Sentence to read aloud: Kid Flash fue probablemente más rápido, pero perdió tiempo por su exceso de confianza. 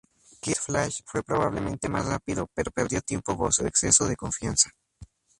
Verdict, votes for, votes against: rejected, 0, 2